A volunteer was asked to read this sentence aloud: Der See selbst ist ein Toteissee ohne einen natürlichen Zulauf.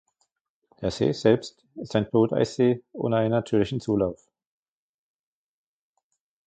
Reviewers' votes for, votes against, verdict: 1, 2, rejected